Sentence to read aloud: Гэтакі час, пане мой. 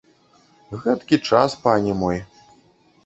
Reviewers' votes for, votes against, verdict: 1, 2, rejected